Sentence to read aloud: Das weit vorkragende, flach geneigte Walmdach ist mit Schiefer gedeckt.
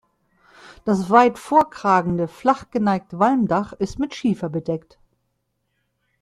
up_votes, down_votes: 0, 2